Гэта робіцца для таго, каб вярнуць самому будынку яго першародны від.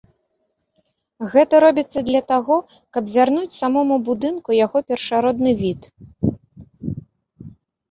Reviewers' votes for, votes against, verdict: 2, 0, accepted